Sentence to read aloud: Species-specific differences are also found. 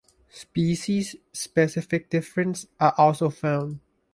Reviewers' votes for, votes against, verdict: 2, 1, accepted